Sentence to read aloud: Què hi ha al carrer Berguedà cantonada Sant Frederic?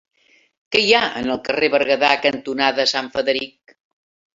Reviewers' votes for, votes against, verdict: 2, 3, rejected